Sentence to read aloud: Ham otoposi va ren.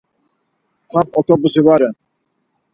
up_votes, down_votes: 4, 0